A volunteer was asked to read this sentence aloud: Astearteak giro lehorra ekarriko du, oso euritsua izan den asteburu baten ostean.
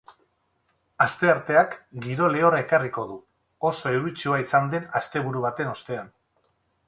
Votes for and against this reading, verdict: 4, 0, accepted